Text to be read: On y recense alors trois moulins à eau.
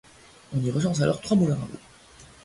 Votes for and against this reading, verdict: 2, 1, accepted